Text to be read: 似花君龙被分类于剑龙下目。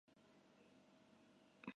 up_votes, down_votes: 0, 4